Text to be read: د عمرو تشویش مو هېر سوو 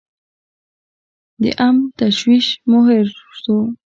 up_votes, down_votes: 2, 0